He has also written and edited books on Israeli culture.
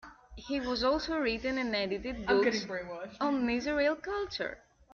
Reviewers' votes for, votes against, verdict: 0, 3, rejected